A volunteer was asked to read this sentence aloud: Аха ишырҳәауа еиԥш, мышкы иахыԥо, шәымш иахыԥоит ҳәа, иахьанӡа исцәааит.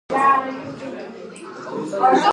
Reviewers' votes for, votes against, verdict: 0, 3, rejected